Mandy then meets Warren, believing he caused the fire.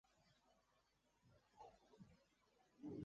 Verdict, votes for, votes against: rejected, 0, 2